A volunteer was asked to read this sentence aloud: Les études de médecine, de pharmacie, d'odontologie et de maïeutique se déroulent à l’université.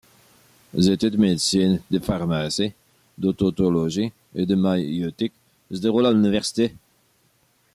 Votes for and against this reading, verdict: 2, 0, accepted